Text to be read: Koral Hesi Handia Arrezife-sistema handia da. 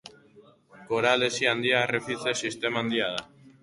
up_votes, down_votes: 2, 0